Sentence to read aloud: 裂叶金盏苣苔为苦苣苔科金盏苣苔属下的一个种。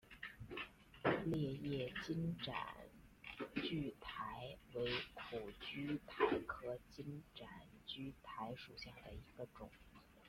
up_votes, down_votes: 0, 2